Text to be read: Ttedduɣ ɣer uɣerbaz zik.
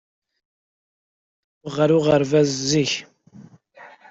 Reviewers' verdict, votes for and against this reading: rejected, 0, 2